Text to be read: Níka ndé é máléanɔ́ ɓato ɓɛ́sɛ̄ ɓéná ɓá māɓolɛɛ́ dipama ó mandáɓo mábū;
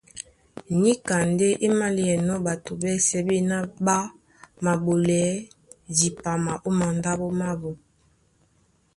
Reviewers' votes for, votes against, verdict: 0, 2, rejected